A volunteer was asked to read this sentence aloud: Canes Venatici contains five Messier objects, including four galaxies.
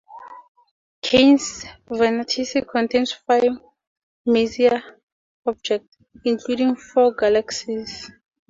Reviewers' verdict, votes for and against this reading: rejected, 2, 2